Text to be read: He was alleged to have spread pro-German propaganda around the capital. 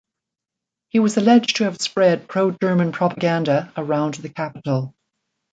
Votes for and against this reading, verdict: 2, 0, accepted